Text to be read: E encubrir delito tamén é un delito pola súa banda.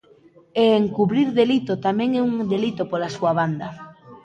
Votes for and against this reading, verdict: 2, 0, accepted